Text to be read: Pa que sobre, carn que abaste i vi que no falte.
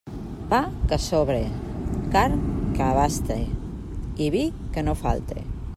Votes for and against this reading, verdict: 2, 0, accepted